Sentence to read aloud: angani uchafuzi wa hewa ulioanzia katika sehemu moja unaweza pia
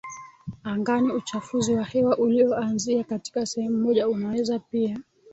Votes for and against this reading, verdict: 3, 0, accepted